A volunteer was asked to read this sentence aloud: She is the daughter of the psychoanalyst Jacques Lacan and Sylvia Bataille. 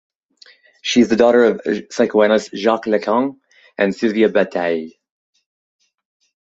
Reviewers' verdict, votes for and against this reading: accepted, 2, 0